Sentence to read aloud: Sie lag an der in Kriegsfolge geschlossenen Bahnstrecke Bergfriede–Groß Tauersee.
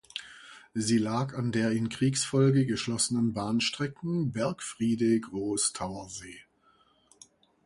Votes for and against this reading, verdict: 0, 2, rejected